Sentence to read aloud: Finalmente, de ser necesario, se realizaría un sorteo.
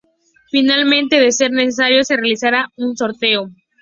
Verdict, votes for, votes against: accepted, 2, 0